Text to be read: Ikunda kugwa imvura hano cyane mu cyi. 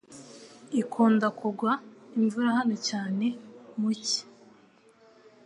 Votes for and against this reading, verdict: 2, 0, accepted